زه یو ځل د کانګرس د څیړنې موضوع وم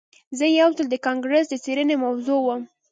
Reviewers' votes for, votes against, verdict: 0, 2, rejected